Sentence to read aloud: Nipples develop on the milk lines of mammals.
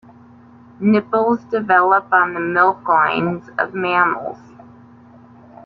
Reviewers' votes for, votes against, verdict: 1, 2, rejected